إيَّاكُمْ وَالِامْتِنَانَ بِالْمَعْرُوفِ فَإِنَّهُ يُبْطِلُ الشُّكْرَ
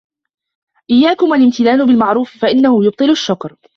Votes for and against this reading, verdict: 0, 2, rejected